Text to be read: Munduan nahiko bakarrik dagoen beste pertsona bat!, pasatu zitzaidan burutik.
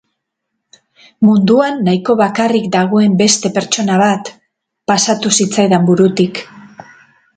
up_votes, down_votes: 2, 2